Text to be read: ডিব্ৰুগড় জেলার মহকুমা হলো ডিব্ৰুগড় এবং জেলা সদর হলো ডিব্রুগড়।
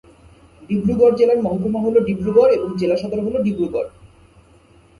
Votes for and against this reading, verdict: 6, 6, rejected